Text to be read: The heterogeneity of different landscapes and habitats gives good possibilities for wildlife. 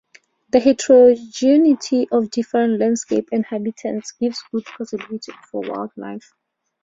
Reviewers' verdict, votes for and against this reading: accepted, 2, 0